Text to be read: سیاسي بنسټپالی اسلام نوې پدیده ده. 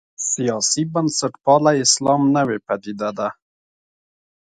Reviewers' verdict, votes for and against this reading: accepted, 2, 1